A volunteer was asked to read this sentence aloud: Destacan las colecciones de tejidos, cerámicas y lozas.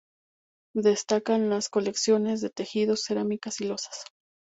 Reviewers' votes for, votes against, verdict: 2, 0, accepted